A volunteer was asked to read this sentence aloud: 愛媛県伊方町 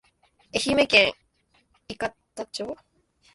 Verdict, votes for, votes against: accepted, 2, 0